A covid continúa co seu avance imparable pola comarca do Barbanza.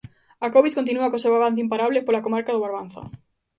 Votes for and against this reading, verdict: 2, 0, accepted